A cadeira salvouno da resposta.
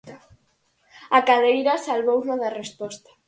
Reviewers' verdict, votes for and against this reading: accepted, 4, 0